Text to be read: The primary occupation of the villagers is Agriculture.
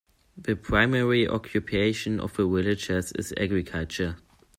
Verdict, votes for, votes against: rejected, 1, 2